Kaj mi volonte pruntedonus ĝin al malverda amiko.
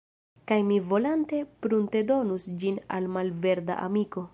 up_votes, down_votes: 1, 2